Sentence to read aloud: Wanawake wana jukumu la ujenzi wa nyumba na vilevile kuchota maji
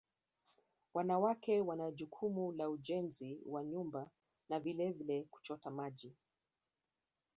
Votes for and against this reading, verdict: 1, 2, rejected